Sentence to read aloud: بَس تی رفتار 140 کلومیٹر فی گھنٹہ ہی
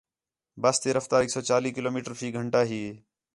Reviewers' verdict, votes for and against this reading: rejected, 0, 2